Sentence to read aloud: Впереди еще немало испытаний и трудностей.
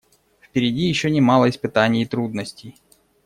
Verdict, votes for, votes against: accepted, 2, 0